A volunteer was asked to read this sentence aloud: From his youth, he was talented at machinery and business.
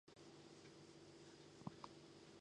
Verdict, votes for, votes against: rejected, 0, 2